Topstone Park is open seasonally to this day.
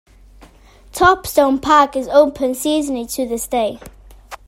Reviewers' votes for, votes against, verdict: 2, 0, accepted